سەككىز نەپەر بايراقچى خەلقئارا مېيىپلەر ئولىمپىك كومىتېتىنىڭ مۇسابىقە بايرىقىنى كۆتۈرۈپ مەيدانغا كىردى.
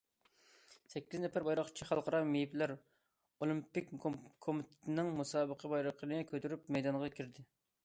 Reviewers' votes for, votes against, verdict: 2, 1, accepted